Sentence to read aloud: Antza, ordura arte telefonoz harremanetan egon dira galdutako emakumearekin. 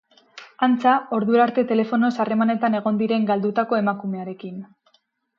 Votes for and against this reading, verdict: 0, 4, rejected